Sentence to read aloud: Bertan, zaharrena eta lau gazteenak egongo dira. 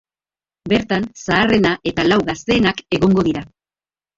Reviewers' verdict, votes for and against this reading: rejected, 1, 2